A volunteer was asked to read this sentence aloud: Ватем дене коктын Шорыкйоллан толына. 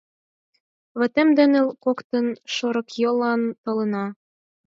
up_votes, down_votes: 4, 0